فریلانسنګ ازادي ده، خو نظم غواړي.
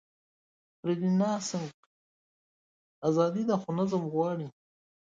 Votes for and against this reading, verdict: 2, 1, accepted